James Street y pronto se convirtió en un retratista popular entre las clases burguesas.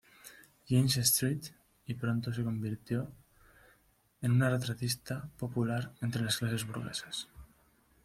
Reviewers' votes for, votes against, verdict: 0, 2, rejected